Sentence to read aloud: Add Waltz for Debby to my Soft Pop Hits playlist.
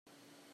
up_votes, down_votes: 0, 2